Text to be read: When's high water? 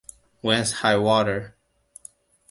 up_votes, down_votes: 2, 0